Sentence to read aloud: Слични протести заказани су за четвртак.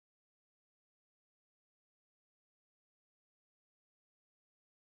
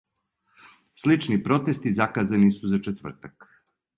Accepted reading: second